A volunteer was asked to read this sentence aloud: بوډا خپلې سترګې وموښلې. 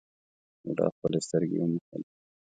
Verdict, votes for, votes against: accepted, 2, 0